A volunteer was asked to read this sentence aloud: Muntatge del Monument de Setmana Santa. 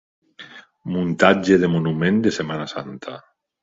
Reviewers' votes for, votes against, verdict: 1, 2, rejected